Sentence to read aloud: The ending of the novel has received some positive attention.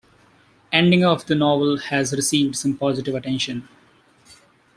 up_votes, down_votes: 0, 2